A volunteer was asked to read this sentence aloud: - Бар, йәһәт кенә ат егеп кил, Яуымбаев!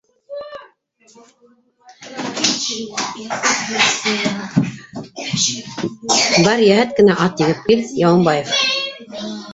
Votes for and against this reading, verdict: 1, 3, rejected